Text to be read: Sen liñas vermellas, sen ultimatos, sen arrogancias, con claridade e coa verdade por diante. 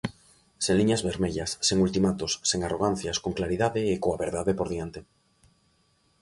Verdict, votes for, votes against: accepted, 2, 0